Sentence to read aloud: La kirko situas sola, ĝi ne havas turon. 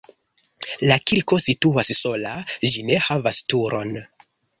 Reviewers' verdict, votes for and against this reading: accepted, 2, 0